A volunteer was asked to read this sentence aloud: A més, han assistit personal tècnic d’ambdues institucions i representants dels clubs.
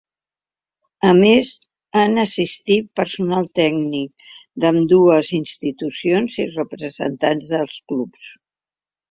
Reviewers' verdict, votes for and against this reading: accepted, 3, 0